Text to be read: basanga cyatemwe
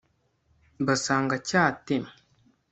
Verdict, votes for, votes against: rejected, 1, 2